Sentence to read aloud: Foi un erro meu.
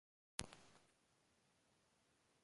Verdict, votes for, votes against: rejected, 0, 2